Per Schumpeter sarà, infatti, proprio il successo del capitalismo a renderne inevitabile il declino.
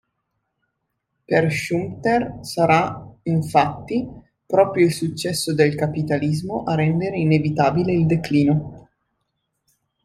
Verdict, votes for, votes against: rejected, 1, 2